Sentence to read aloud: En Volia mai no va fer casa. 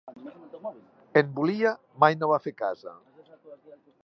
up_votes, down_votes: 3, 1